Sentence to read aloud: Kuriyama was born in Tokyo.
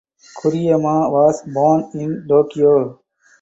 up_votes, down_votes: 4, 0